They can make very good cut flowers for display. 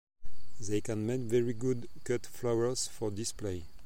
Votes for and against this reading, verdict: 2, 0, accepted